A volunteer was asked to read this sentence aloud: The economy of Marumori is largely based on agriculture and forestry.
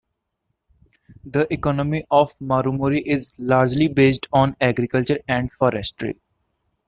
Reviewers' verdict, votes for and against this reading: accepted, 2, 1